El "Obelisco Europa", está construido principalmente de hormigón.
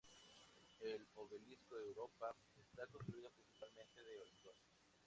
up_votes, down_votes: 2, 2